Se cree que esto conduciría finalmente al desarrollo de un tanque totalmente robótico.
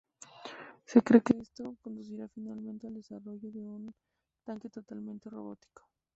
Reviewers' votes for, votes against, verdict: 0, 4, rejected